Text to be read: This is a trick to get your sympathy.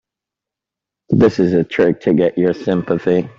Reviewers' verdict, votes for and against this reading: accepted, 2, 0